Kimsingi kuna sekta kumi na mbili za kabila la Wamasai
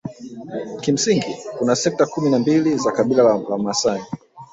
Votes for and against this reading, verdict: 2, 0, accepted